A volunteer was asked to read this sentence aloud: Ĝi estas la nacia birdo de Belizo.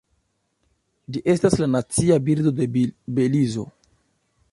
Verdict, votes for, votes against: rejected, 1, 2